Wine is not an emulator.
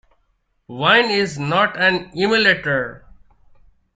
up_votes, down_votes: 2, 0